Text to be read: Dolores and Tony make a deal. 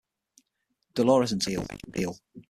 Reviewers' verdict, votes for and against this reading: rejected, 3, 6